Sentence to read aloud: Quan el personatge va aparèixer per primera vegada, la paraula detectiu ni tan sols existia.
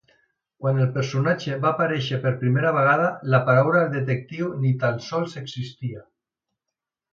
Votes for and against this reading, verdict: 2, 0, accepted